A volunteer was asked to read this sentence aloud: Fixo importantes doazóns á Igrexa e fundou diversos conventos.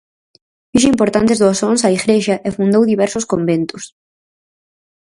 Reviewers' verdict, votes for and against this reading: rejected, 2, 2